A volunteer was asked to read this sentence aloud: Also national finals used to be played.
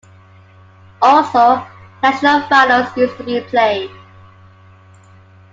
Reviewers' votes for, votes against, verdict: 2, 1, accepted